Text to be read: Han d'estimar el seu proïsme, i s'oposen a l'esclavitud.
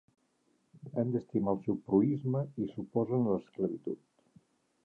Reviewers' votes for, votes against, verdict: 2, 1, accepted